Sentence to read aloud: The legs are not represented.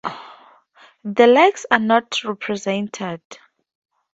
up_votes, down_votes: 4, 0